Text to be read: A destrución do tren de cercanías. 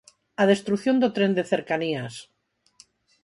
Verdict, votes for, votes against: accepted, 4, 0